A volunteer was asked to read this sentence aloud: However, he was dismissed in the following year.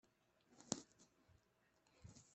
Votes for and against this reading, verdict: 0, 2, rejected